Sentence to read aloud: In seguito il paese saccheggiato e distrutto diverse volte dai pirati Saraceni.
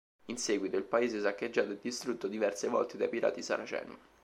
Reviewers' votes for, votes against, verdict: 2, 0, accepted